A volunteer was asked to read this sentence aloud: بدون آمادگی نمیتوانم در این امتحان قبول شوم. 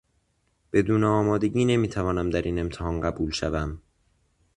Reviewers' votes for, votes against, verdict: 2, 0, accepted